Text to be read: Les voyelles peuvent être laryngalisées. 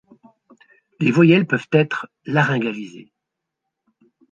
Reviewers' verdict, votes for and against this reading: accepted, 2, 0